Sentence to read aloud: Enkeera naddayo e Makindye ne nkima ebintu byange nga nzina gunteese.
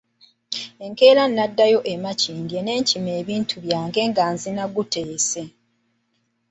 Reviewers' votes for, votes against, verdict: 2, 1, accepted